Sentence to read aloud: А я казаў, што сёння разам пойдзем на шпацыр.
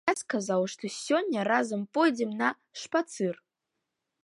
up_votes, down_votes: 0, 2